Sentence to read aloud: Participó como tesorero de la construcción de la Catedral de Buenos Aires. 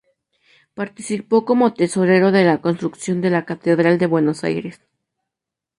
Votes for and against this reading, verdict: 2, 0, accepted